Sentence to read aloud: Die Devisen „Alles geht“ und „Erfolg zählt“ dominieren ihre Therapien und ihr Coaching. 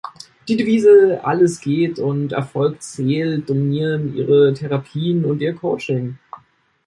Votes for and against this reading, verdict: 0, 2, rejected